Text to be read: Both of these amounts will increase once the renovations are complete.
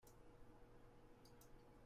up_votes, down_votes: 0, 2